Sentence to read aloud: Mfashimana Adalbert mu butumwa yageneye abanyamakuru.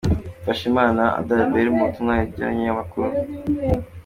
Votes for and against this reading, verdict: 2, 1, accepted